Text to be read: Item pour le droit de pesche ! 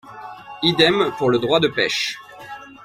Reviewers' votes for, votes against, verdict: 1, 2, rejected